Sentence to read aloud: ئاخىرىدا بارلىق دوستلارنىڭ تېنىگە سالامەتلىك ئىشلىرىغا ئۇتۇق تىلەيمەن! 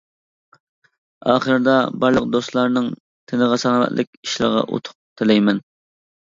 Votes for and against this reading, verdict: 0, 2, rejected